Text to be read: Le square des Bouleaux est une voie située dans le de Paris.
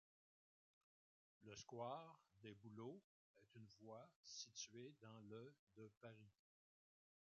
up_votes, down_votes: 0, 2